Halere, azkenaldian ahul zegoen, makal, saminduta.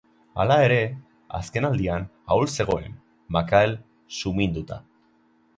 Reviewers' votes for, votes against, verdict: 1, 2, rejected